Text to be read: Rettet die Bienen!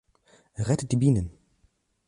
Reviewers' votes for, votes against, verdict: 2, 0, accepted